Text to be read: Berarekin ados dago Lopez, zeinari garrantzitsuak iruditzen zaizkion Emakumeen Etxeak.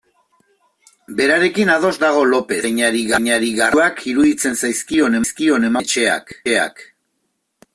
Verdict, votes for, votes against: rejected, 0, 2